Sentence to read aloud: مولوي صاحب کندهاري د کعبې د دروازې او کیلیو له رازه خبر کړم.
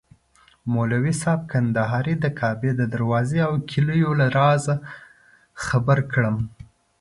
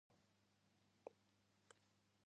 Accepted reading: first